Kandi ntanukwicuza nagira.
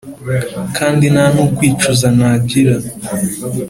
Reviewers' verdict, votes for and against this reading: accepted, 2, 0